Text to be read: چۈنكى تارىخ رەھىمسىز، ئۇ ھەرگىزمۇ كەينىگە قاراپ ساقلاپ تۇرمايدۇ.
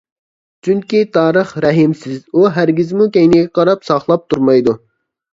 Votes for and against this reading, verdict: 2, 0, accepted